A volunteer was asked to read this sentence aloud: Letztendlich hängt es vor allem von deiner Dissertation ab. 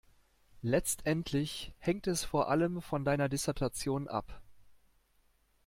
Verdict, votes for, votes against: accepted, 2, 0